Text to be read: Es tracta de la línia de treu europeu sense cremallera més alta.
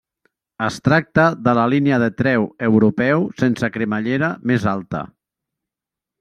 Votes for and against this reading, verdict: 3, 0, accepted